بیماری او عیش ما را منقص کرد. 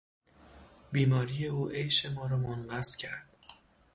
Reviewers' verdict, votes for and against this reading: accepted, 3, 0